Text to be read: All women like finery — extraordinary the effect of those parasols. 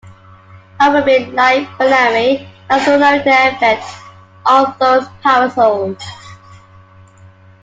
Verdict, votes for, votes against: rejected, 1, 2